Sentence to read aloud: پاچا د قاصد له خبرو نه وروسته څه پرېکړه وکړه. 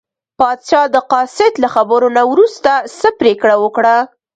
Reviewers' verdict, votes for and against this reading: accepted, 2, 0